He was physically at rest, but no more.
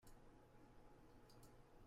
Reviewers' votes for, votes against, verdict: 0, 2, rejected